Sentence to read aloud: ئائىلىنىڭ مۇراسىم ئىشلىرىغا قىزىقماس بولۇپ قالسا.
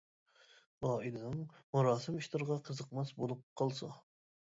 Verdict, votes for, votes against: rejected, 1, 2